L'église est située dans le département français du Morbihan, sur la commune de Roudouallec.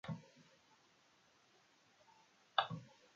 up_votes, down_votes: 0, 2